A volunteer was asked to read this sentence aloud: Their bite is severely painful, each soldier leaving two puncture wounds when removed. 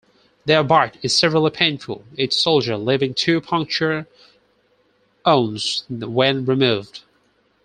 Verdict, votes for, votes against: rejected, 0, 4